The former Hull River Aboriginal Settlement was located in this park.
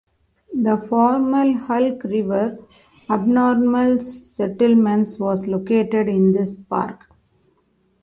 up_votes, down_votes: 0, 2